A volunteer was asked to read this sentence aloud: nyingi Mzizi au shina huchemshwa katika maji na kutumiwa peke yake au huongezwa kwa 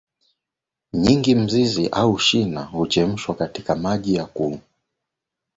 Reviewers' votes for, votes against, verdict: 1, 2, rejected